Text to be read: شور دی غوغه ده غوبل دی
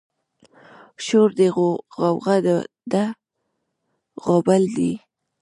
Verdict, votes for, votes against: rejected, 1, 2